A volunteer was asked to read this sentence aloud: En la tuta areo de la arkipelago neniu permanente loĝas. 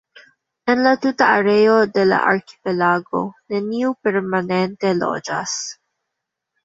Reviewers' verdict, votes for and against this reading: accepted, 2, 1